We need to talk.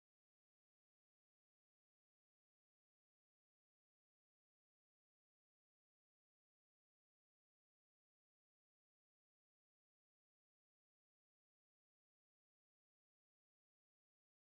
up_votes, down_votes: 0, 2